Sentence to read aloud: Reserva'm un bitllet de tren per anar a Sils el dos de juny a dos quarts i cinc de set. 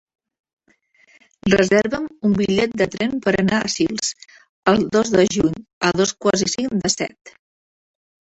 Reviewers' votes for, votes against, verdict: 3, 0, accepted